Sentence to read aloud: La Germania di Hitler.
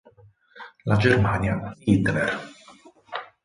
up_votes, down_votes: 2, 6